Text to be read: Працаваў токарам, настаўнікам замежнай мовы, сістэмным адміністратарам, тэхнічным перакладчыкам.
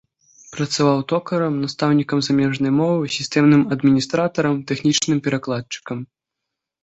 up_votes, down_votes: 2, 0